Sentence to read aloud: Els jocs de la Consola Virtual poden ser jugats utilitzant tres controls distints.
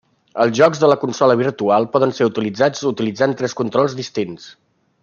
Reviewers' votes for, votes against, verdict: 1, 2, rejected